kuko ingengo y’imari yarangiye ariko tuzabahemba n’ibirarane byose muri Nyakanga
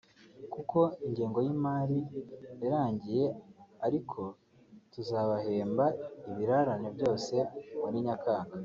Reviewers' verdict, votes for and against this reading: rejected, 0, 3